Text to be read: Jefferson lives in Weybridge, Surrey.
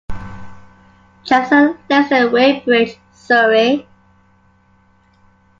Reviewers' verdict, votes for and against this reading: rejected, 0, 2